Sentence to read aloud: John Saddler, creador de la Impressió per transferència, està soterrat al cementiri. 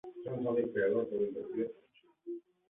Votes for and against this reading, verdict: 0, 2, rejected